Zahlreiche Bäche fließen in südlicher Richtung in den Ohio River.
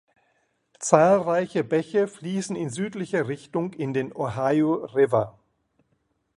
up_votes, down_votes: 2, 0